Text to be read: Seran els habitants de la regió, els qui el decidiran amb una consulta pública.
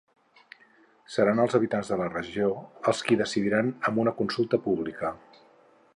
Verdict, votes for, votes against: rejected, 2, 4